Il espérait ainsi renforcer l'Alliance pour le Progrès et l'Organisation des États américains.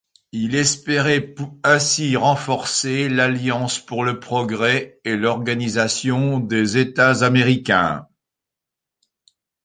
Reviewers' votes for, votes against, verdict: 2, 1, accepted